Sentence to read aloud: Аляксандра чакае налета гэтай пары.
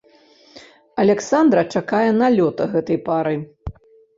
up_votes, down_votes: 0, 2